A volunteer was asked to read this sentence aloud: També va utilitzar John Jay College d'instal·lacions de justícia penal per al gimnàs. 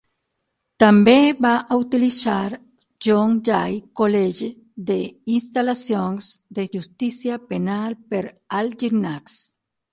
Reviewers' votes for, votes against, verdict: 3, 6, rejected